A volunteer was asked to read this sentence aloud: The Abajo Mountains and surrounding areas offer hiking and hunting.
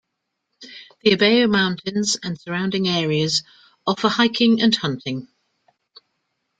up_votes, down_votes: 1, 2